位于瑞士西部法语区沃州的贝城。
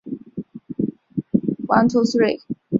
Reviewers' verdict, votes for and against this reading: accepted, 3, 2